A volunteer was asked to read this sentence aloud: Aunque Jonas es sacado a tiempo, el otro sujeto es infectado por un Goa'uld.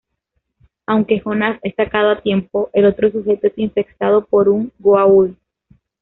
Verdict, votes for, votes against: accepted, 2, 0